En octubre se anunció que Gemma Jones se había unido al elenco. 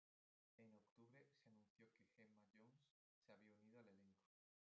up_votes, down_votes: 0, 2